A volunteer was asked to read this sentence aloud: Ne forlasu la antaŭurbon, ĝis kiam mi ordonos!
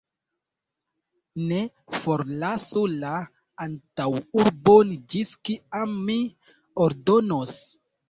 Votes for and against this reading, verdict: 2, 1, accepted